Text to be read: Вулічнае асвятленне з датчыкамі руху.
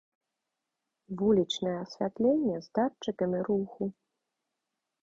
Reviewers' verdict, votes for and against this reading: accepted, 2, 0